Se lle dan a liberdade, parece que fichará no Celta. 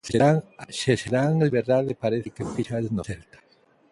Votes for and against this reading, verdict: 0, 2, rejected